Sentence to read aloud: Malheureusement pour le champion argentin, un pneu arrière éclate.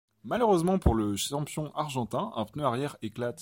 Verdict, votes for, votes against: accepted, 2, 0